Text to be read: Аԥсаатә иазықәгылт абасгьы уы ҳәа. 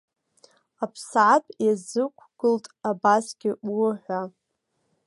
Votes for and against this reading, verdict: 2, 0, accepted